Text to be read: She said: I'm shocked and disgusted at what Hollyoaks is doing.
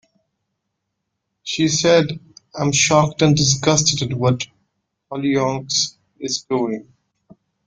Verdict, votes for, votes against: accepted, 2, 0